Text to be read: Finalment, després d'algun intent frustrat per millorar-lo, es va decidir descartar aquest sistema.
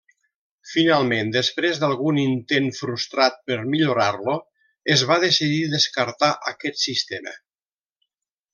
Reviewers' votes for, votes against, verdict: 2, 0, accepted